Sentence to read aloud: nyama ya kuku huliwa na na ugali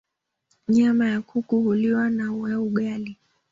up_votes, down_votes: 2, 1